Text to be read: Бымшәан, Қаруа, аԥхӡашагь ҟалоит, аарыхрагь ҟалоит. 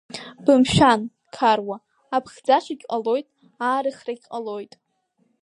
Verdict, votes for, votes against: accepted, 2, 0